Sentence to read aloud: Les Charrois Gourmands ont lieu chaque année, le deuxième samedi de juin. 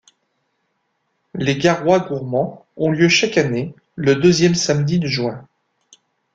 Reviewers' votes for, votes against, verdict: 0, 2, rejected